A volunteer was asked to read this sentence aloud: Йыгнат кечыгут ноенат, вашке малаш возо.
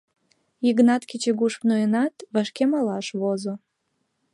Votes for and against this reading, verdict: 0, 2, rejected